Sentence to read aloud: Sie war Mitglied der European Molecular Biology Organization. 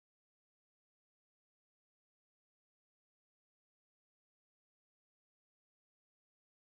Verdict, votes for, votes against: rejected, 0, 4